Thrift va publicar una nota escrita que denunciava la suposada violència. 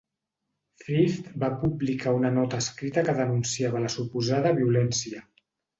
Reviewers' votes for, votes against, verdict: 2, 0, accepted